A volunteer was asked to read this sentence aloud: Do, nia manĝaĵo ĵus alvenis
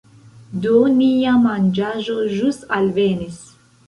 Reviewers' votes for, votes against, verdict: 1, 2, rejected